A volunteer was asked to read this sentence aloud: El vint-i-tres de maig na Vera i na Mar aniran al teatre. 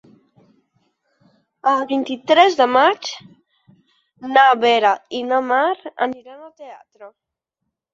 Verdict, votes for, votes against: accepted, 4, 2